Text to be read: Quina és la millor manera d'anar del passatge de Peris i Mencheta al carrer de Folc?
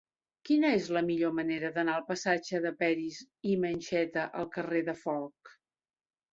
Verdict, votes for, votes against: accepted, 2, 0